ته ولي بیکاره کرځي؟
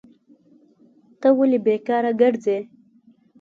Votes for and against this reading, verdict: 3, 0, accepted